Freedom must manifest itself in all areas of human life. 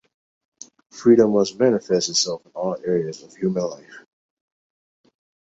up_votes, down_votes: 2, 0